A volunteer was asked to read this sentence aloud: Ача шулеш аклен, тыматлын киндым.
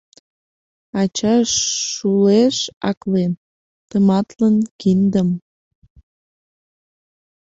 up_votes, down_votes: 2, 0